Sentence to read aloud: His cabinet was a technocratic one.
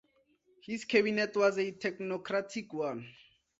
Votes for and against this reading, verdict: 2, 0, accepted